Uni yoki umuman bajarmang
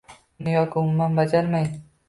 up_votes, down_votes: 0, 2